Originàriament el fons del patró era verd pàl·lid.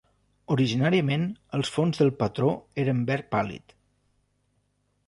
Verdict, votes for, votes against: rejected, 0, 2